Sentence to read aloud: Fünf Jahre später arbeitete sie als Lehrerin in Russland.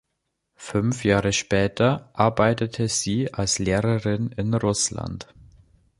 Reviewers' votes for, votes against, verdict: 2, 0, accepted